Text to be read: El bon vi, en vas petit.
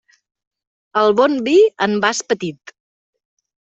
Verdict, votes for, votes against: accepted, 3, 0